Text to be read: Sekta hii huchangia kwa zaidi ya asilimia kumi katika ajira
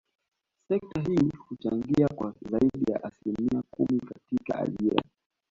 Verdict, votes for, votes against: accepted, 2, 1